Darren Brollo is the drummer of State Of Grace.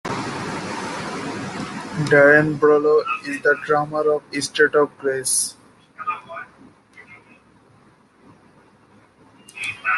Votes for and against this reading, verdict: 0, 2, rejected